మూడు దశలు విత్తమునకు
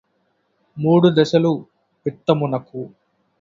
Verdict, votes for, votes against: accepted, 2, 0